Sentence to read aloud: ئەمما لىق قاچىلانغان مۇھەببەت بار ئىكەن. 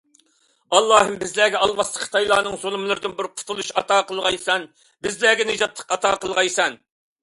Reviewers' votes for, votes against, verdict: 0, 2, rejected